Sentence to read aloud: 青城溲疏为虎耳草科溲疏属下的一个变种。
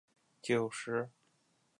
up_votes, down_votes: 0, 2